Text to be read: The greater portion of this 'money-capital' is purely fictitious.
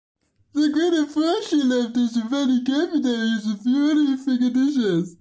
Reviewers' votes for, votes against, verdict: 0, 2, rejected